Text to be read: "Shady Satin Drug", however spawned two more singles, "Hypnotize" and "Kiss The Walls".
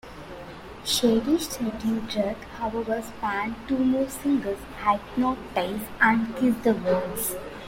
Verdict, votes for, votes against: rejected, 0, 2